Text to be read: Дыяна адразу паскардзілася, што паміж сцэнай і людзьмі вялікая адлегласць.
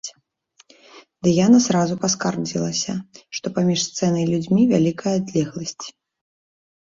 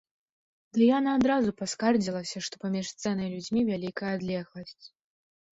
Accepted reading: second